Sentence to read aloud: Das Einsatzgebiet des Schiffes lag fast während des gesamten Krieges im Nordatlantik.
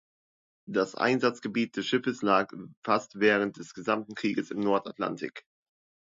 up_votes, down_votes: 2, 0